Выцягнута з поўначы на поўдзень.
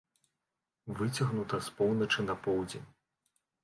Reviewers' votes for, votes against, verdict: 2, 0, accepted